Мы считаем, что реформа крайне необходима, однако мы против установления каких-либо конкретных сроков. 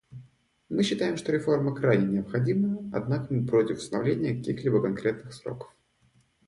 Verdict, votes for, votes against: accepted, 2, 0